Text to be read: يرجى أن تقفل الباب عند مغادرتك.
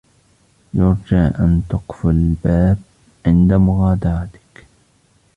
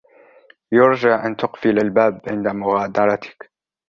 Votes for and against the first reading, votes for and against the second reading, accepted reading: 0, 2, 2, 1, second